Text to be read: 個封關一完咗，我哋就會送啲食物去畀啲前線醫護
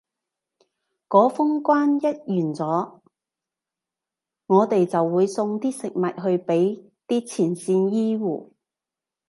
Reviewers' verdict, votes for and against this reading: rejected, 0, 2